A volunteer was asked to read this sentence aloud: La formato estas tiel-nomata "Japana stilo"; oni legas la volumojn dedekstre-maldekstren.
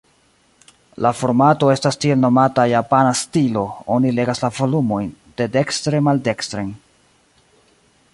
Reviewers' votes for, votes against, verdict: 2, 0, accepted